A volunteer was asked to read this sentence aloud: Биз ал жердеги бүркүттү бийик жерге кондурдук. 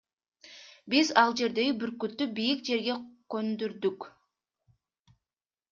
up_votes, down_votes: 0, 2